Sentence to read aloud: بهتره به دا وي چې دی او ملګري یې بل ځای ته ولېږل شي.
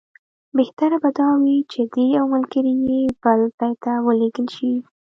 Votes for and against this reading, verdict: 0, 2, rejected